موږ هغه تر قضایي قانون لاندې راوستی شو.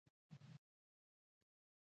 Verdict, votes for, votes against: rejected, 1, 2